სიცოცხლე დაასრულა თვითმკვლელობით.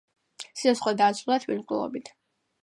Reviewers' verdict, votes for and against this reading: rejected, 1, 2